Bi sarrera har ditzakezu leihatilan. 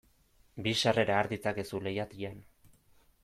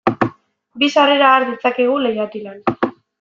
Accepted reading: first